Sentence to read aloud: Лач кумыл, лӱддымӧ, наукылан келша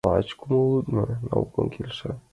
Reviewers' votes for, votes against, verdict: 1, 7, rejected